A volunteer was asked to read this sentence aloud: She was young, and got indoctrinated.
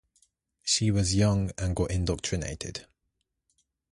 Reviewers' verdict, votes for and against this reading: rejected, 0, 2